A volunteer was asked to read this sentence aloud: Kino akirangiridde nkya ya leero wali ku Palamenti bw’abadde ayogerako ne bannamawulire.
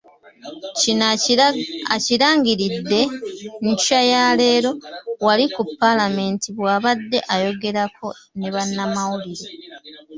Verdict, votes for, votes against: rejected, 0, 2